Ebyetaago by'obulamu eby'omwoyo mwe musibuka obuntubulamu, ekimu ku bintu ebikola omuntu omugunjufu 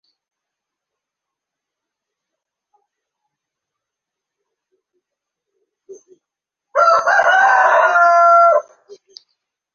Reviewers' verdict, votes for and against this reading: rejected, 0, 2